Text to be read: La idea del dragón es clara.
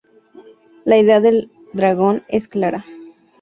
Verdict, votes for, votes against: accepted, 4, 0